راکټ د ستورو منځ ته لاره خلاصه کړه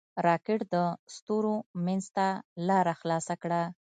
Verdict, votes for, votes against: rejected, 1, 2